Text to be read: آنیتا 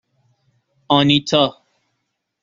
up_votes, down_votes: 2, 0